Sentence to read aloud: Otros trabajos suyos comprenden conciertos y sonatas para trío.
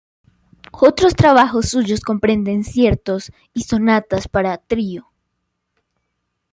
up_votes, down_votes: 0, 2